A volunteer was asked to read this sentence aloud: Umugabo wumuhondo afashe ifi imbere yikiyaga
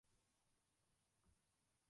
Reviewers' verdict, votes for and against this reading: rejected, 0, 3